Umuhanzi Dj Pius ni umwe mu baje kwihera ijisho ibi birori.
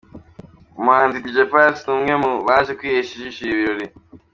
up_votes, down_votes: 2, 0